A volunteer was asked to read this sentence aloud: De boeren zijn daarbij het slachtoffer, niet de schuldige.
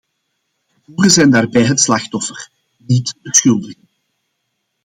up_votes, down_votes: 0, 2